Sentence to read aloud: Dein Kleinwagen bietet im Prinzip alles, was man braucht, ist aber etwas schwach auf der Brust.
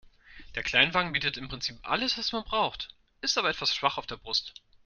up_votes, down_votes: 0, 2